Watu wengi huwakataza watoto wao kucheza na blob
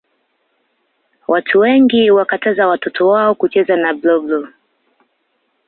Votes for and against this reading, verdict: 2, 0, accepted